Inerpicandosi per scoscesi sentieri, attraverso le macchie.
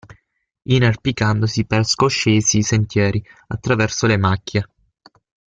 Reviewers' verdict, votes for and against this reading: accepted, 6, 0